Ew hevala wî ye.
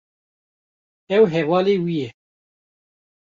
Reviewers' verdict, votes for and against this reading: rejected, 1, 2